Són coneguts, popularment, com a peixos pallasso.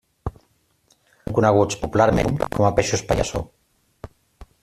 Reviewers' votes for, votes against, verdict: 0, 2, rejected